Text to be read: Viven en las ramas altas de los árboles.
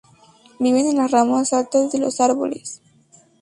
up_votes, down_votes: 2, 0